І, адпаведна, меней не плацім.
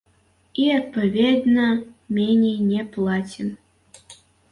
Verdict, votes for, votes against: accepted, 2, 1